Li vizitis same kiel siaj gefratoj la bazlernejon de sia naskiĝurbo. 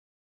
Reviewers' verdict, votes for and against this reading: rejected, 1, 3